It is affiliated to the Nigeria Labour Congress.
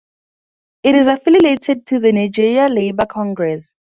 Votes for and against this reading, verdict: 2, 0, accepted